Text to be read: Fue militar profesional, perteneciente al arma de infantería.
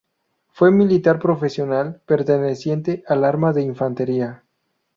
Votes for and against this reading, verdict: 2, 0, accepted